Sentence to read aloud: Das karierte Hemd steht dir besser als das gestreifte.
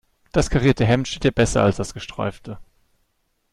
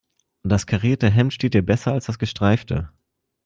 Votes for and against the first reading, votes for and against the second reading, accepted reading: 0, 2, 2, 0, second